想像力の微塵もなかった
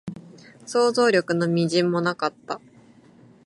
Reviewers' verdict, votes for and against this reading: accepted, 2, 0